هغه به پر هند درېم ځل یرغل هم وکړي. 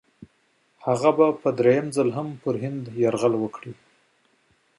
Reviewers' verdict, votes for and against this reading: rejected, 1, 2